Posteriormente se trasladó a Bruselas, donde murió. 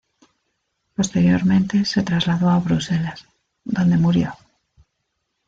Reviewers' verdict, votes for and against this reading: accepted, 2, 1